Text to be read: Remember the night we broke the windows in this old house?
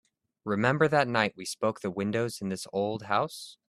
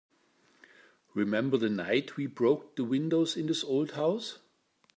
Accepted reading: second